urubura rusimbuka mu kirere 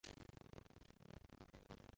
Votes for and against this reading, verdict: 0, 2, rejected